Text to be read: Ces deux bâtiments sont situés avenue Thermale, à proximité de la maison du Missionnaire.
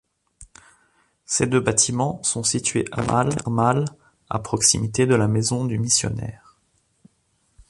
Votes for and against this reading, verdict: 0, 3, rejected